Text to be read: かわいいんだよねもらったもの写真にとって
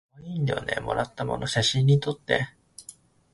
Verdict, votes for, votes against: rejected, 0, 2